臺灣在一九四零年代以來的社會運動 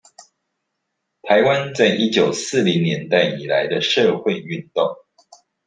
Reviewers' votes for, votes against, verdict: 2, 0, accepted